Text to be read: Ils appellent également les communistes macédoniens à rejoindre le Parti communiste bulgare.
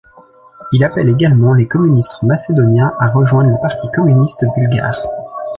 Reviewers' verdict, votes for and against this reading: rejected, 0, 2